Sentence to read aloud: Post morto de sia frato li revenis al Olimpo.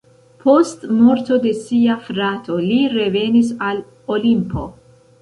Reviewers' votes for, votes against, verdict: 2, 1, accepted